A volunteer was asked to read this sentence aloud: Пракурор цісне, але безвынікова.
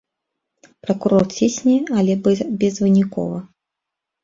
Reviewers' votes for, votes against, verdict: 0, 2, rejected